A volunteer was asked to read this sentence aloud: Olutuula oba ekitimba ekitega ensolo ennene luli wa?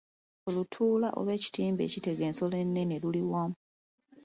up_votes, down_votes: 2, 1